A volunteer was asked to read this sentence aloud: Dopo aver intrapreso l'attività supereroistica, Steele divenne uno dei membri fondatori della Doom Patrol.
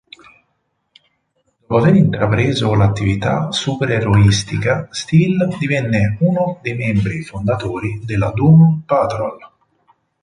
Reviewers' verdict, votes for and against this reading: rejected, 0, 4